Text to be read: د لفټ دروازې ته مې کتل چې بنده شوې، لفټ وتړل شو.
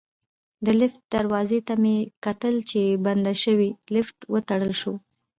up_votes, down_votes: 3, 0